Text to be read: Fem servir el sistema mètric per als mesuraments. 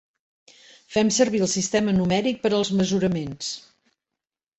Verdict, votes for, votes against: rejected, 0, 2